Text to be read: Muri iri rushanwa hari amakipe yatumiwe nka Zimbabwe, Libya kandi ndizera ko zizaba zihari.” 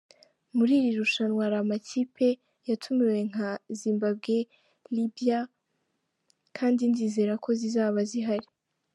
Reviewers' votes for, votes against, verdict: 2, 0, accepted